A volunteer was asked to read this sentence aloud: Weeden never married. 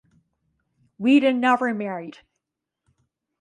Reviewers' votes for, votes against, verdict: 0, 2, rejected